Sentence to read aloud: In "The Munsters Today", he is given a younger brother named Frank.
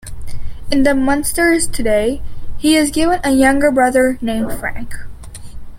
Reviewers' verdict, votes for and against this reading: accepted, 2, 0